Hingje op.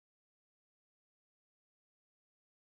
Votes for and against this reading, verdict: 0, 2, rejected